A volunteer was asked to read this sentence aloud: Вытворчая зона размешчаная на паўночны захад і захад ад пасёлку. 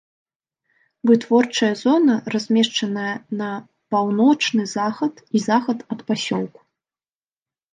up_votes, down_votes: 2, 0